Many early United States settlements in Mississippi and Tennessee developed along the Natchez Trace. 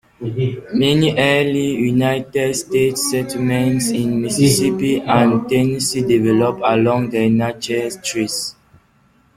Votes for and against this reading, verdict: 2, 1, accepted